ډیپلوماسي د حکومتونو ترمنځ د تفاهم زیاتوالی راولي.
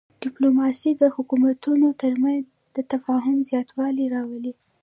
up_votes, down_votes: 1, 2